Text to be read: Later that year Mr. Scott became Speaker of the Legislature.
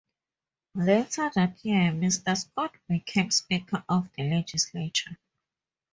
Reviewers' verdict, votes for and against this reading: rejected, 0, 2